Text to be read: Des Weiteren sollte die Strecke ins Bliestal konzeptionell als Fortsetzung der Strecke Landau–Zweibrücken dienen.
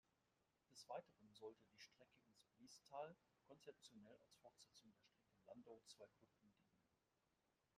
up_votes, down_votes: 0, 2